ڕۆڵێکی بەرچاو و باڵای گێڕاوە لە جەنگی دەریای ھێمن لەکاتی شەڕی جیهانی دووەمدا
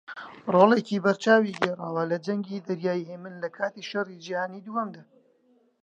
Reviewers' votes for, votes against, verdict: 0, 3, rejected